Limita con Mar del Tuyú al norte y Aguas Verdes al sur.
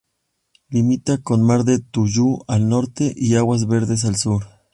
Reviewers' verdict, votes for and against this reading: accepted, 2, 0